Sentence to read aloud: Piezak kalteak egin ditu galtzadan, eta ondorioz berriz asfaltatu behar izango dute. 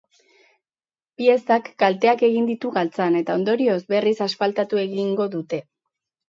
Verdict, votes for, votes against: rejected, 0, 6